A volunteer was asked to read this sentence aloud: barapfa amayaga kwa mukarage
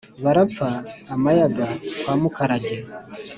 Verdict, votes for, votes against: accepted, 4, 0